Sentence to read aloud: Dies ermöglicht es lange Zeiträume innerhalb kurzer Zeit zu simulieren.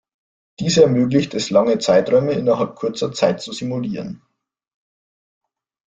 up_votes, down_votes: 2, 0